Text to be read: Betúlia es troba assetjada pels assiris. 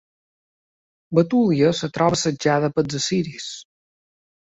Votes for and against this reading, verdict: 1, 2, rejected